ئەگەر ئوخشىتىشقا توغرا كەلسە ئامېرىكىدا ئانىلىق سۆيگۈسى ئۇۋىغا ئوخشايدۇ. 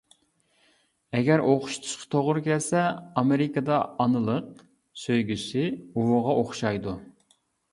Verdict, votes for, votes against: accepted, 2, 0